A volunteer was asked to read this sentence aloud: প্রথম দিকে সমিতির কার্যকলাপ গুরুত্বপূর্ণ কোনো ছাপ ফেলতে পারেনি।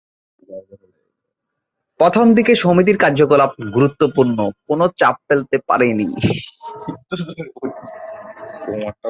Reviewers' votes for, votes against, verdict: 0, 4, rejected